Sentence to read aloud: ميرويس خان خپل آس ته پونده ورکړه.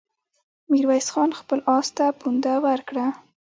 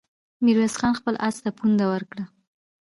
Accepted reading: first